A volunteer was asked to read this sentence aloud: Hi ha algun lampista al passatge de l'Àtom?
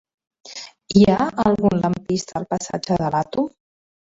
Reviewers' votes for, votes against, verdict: 2, 1, accepted